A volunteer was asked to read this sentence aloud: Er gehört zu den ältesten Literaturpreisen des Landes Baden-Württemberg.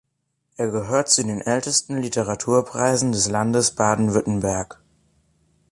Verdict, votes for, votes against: accepted, 3, 0